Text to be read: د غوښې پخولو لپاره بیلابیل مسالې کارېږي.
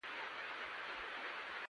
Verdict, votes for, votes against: rejected, 1, 2